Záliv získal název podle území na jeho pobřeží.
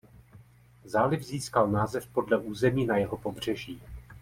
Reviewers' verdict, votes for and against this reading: rejected, 1, 2